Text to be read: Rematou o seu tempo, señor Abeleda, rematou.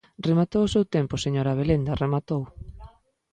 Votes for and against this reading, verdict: 0, 2, rejected